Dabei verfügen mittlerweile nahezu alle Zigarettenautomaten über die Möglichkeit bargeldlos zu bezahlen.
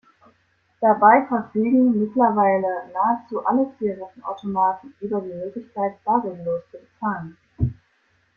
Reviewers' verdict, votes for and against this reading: accepted, 2, 0